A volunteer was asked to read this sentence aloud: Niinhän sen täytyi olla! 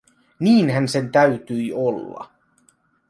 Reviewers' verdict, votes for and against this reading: accepted, 2, 0